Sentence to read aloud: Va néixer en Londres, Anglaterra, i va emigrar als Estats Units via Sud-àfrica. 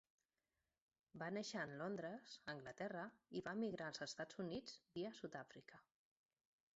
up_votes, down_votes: 2, 1